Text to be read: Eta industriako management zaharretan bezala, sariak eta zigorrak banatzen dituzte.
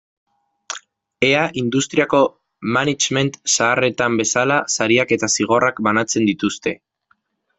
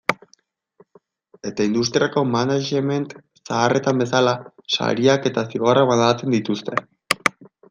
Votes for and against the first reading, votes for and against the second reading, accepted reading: 0, 2, 2, 1, second